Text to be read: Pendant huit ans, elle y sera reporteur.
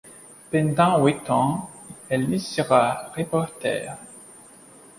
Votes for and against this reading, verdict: 2, 1, accepted